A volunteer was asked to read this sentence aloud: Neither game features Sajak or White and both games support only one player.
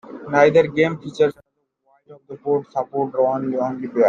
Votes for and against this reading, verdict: 0, 2, rejected